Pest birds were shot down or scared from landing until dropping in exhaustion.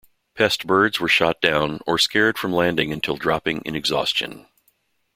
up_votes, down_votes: 2, 0